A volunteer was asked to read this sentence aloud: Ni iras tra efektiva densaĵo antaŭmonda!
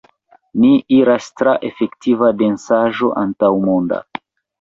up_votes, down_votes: 0, 2